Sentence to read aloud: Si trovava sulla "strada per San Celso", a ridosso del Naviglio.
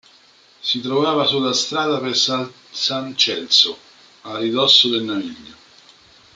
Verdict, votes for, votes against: rejected, 0, 3